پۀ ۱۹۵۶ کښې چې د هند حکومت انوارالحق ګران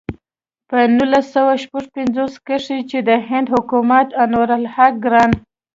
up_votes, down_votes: 0, 2